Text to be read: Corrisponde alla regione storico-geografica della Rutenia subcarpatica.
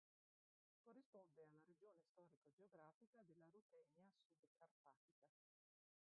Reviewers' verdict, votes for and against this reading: rejected, 0, 2